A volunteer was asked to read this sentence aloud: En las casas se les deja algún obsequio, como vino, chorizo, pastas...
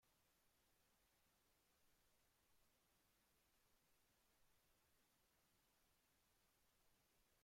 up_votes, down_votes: 0, 2